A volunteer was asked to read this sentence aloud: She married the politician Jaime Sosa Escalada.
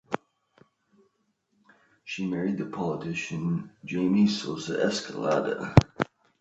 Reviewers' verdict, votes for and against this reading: accepted, 2, 0